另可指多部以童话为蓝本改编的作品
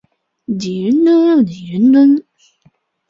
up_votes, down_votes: 0, 2